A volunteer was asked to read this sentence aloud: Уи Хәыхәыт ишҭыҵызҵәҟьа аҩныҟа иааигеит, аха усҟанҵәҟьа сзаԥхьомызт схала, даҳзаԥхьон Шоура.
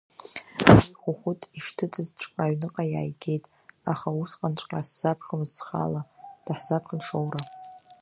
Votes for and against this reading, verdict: 0, 2, rejected